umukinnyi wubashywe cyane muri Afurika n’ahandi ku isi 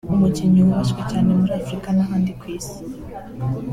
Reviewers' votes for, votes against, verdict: 2, 0, accepted